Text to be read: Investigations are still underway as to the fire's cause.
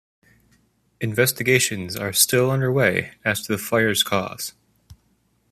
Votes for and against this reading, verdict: 2, 0, accepted